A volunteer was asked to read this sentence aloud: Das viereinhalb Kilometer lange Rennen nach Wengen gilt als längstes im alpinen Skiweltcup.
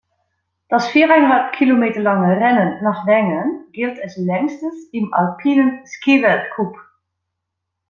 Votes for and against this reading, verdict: 0, 2, rejected